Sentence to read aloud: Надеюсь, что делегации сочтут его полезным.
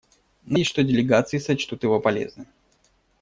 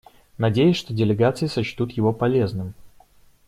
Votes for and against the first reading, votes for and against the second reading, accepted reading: 1, 2, 2, 0, second